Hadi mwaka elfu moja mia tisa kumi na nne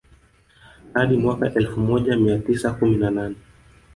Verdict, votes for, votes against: rejected, 2, 3